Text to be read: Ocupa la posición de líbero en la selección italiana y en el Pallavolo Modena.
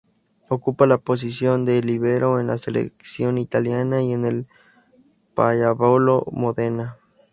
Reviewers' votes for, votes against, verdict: 0, 4, rejected